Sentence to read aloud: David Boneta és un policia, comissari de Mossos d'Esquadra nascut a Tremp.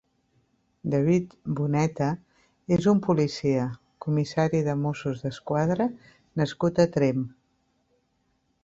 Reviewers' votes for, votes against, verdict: 3, 0, accepted